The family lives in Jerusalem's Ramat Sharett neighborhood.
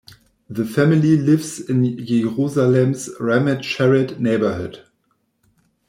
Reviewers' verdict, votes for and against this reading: rejected, 0, 2